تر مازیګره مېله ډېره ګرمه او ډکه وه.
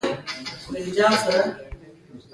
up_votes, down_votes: 2, 1